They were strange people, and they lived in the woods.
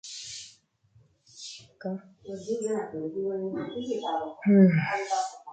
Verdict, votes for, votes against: rejected, 0, 2